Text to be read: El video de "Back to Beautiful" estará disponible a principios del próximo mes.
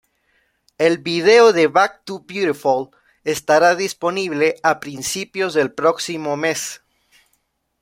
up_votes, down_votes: 2, 0